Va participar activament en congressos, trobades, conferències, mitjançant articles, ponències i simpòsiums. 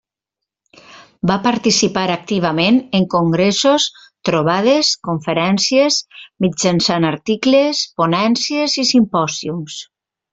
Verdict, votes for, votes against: accepted, 2, 0